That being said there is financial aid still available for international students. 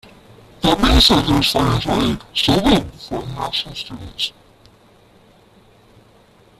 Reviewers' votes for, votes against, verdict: 0, 2, rejected